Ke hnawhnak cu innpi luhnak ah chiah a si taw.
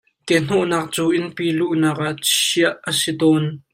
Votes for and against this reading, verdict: 1, 2, rejected